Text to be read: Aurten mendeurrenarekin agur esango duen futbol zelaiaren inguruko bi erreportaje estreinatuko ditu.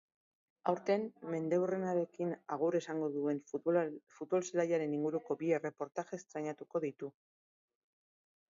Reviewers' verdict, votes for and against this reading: rejected, 1, 2